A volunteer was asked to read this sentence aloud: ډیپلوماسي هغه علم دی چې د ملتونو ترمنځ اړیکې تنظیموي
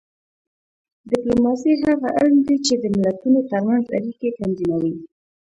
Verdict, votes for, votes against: rejected, 1, 2